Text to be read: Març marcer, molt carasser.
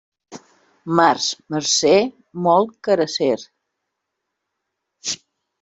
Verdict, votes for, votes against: rejected, 1, 2